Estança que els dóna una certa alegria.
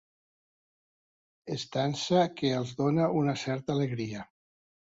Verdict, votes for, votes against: accepted, 2, 0